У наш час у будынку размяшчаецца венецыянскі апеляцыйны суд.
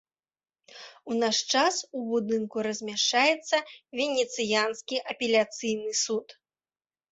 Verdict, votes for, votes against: accepted, 2, 0